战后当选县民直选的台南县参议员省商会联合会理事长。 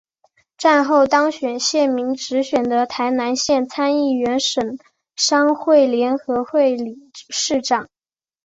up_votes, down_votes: 2, 1